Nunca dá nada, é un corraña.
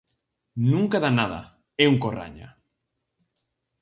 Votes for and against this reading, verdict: 4, 0, accepted